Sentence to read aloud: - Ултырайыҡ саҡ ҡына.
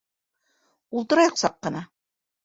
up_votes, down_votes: 2, 0